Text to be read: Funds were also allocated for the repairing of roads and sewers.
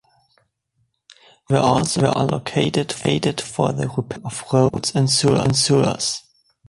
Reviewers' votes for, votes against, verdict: 0, 2, rejected